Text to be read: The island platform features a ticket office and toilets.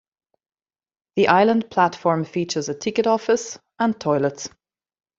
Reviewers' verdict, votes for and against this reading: accepted, 2, 0